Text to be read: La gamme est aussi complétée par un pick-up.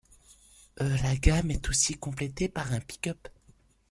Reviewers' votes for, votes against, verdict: 2, 0, accepted